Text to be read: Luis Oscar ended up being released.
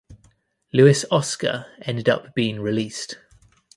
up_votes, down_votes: 2, 0